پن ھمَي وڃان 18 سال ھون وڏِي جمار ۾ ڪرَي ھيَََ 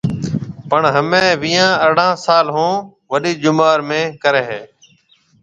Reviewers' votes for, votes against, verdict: 0, 2, rejected